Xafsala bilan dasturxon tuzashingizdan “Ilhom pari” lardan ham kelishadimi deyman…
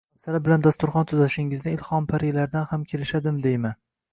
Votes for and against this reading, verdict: 1, 2, rejected